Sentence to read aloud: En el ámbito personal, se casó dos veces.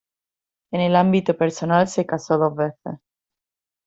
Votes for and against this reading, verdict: 1, 2, rejected